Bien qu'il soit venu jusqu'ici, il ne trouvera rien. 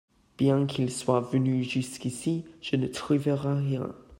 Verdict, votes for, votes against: rejected, 0, 2